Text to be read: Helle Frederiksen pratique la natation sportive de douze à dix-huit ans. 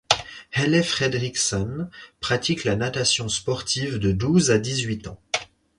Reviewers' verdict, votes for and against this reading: accepted, 4, 0